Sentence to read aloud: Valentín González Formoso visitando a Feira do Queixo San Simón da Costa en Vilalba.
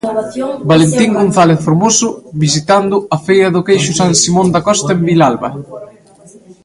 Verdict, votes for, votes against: rejected, 1, 2